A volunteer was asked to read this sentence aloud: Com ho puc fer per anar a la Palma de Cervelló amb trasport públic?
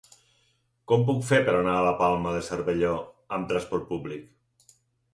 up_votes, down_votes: 2, 4